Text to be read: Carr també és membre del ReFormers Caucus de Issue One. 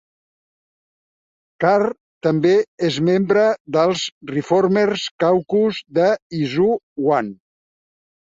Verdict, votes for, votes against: rejected, 0, 2